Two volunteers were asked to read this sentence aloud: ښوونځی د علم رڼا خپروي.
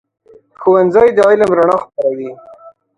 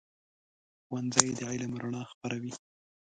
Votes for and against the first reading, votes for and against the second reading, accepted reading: 2, 0, 1, 2, first